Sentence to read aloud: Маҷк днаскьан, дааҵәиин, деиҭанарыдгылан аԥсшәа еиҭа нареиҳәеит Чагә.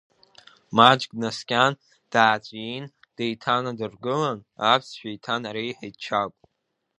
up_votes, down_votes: 1, 2